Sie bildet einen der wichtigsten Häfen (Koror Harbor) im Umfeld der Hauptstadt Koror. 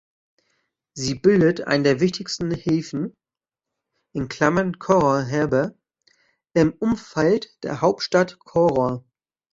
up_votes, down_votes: 0, 2